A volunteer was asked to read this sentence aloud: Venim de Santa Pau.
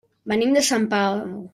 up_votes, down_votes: 0, 2